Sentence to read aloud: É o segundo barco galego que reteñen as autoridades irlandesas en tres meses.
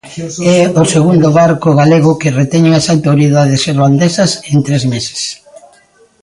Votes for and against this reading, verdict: 0, 2, rejected